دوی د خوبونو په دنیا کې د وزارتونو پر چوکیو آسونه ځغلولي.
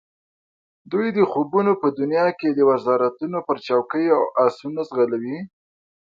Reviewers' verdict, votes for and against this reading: accepted, 2, 0